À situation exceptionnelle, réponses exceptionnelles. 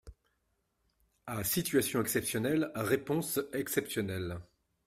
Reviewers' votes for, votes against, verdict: 2, 0, accepted